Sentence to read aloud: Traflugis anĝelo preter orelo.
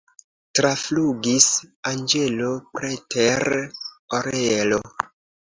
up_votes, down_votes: 2, 0